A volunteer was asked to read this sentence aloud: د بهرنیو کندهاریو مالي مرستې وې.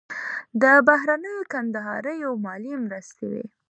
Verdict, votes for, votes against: accepted, 2, 1